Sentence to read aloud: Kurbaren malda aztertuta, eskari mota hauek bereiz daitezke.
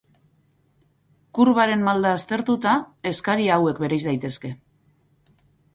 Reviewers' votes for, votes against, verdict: 2, 2, rejected